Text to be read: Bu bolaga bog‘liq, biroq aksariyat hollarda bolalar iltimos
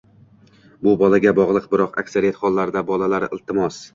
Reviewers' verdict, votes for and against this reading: rejected, 0, 2